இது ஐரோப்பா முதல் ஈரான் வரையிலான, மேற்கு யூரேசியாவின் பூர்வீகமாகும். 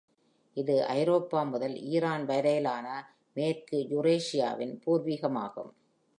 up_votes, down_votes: 2, 0